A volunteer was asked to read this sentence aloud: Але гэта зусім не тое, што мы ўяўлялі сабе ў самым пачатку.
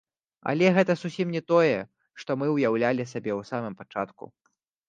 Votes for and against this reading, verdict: 2, 0, accepted